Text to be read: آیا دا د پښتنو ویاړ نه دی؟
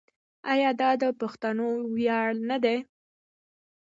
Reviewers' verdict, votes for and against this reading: accepted, 2, 0